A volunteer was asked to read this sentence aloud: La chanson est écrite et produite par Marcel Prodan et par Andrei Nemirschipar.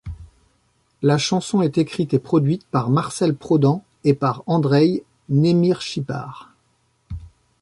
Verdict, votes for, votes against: accepted, 2, 0